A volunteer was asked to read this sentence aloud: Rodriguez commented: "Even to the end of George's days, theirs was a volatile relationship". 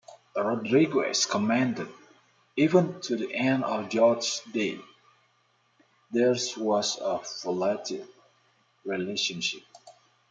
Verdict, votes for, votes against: rejected, 0, 2